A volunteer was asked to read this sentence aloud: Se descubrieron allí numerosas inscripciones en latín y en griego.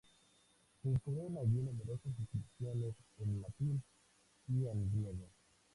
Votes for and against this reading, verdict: 0, 2, rejected